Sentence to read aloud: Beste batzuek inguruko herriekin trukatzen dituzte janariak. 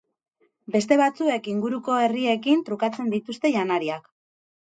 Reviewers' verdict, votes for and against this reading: accepted, 6, 0